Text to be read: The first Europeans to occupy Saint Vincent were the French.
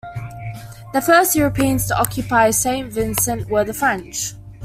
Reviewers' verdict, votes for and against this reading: accepted, 2, 0